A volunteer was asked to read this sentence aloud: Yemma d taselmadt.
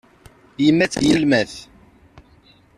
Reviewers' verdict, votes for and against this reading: rejected, 1, 2